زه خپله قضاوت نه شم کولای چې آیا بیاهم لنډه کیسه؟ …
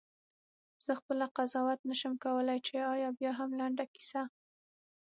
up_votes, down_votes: 3, 6